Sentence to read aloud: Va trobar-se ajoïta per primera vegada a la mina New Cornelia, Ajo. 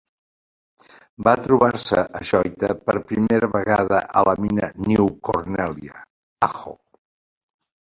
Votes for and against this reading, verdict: 2, 1, accepted